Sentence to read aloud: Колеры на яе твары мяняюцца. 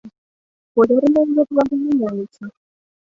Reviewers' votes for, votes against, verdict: 1, 2, rejected